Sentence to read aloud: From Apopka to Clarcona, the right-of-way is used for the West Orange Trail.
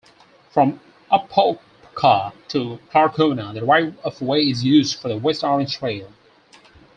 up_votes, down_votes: 2, 4